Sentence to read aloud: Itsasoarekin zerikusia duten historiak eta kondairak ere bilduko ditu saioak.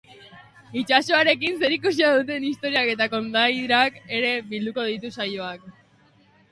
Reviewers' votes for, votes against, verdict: 2, 0, accepted